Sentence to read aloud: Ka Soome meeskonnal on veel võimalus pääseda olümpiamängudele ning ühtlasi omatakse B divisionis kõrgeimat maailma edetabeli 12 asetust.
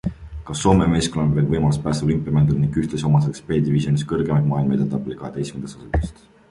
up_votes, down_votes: 0, 2